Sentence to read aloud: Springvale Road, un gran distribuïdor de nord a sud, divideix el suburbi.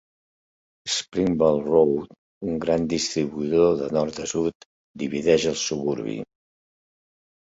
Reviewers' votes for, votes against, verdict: 2, 0, accepted